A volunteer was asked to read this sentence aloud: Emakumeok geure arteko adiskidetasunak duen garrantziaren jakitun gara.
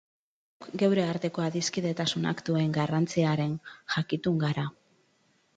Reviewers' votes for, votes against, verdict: 0, 2, rejected